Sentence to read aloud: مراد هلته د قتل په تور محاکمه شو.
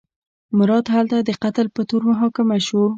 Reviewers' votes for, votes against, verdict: 2, 0, accepted